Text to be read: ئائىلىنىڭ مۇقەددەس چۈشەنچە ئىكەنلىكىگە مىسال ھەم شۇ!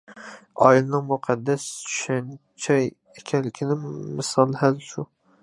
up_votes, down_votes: 0, 2